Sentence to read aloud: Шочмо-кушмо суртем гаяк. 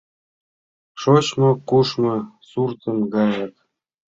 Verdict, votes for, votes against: rejected, 0, 2